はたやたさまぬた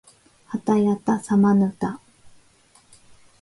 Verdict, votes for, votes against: accepted, 2, 0